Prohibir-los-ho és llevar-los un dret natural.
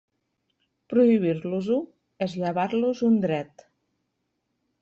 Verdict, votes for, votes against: rejected, 0, 2